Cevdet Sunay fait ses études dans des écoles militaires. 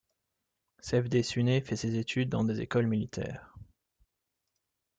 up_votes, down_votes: 2, 0